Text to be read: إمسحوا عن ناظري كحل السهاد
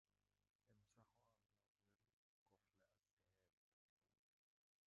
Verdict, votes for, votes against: rejected, 0, 2